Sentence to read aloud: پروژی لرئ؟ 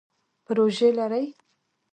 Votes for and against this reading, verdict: 3, 2, accepted